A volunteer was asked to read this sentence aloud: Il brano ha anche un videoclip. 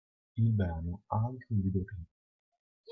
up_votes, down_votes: 1, 2